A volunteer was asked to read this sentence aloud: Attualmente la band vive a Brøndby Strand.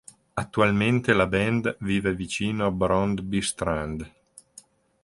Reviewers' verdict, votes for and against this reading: rejected, 0, 2